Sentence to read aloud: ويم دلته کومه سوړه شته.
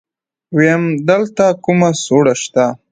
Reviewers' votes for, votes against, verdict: 0, 2, rejected